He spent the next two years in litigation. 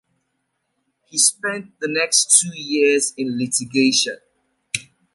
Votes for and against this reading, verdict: 2, 0, accepted